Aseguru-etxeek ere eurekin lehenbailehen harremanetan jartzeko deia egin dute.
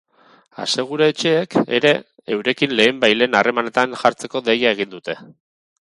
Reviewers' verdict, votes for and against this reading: accepted, 4, 0